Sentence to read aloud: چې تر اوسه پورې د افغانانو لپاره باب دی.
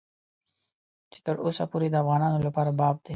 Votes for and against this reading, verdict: 2, 1, accepted